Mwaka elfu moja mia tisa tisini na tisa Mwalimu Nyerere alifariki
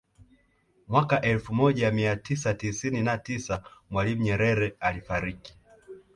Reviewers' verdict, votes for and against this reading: accepted, 2, 0